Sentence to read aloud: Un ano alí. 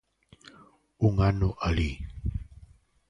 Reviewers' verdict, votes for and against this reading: accepted, 2, 0